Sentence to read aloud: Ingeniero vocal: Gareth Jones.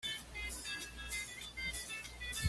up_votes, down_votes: 1, 2